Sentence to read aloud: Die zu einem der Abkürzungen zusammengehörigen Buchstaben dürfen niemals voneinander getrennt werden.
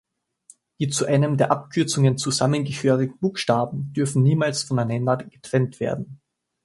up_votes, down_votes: 1, 2